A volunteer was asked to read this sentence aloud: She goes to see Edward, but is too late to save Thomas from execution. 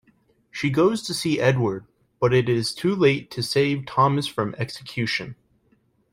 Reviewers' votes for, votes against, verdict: 1, 2, rejected